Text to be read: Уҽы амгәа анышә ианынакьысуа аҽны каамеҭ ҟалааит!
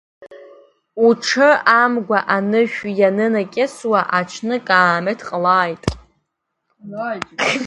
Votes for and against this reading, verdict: 0, 2, rejected